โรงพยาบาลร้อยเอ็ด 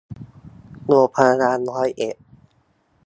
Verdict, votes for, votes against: accepted, 2, 0